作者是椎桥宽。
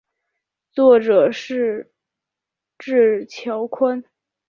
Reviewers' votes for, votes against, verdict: 1, 2, rejected